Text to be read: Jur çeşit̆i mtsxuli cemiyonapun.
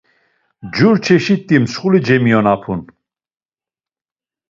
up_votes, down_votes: 2, 0